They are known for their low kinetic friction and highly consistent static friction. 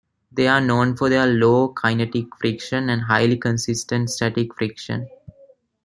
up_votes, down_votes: 0, 2